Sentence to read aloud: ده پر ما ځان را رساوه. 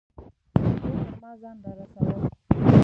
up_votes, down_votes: 1, 2